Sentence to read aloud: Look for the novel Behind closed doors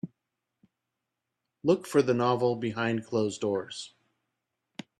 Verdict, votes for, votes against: accepted, 2, 0